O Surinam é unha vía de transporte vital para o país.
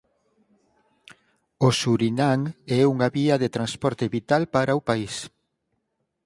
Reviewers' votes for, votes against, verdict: 4, 0, accepted